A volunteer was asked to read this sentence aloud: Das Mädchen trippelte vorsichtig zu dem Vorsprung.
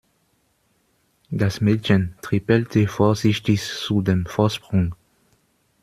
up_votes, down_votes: 0, 2